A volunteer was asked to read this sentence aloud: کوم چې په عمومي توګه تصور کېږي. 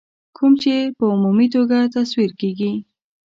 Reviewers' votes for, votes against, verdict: 0, 2, rejected